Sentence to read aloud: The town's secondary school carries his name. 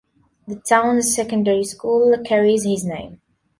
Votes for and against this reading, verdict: 3, 0, accepted